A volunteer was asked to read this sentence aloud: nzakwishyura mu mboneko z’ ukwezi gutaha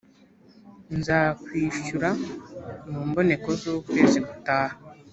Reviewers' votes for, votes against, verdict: 3, 0, accepted